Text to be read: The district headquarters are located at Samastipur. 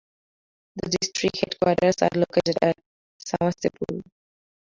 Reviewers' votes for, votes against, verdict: 0, 2, rejected